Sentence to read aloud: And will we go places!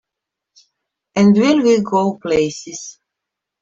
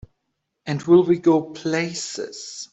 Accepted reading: second